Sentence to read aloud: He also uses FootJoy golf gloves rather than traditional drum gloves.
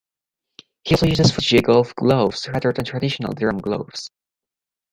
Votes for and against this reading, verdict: 1, 2, rejected